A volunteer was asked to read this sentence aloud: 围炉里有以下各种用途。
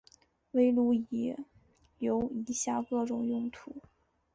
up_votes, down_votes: 2, 0